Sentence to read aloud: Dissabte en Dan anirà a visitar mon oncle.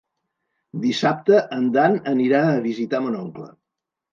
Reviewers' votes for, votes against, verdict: 1, 2, rejected